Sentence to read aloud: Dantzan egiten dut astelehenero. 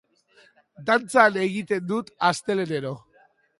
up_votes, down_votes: 2, 0